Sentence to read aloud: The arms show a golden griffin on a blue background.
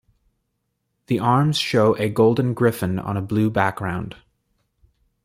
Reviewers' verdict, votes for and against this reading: accepted, 2, 1